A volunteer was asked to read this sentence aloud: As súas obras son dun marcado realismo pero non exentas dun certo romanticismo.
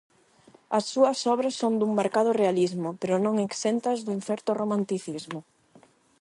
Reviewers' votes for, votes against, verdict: 8, 0, accepted